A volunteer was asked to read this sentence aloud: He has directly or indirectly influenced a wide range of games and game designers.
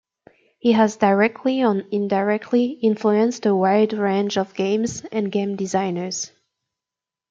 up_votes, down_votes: 1, 2